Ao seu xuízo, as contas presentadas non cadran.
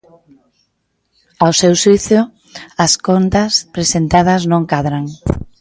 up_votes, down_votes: 2, 1